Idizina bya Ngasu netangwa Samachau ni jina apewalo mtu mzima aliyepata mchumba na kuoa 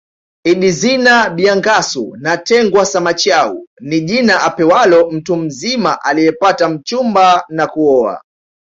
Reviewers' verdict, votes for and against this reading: accepted, 2, 0